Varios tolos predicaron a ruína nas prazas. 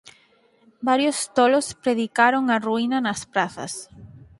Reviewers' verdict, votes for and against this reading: accepted, 4, 0